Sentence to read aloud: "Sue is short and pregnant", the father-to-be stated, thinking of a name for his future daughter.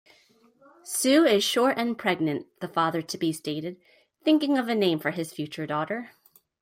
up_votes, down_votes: 2, 0